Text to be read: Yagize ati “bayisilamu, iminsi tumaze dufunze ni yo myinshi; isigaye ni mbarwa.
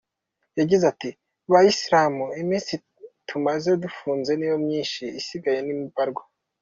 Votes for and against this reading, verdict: 2, 1, accepted